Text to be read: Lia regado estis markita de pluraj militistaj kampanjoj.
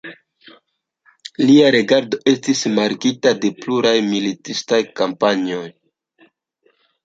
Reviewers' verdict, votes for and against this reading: accepted, 2, 1